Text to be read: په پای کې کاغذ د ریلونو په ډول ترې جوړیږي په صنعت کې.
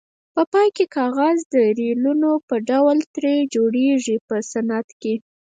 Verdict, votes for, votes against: rejected, 2, 4